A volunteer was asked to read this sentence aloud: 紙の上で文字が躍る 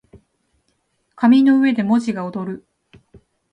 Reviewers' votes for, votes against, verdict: 2, 0, accepted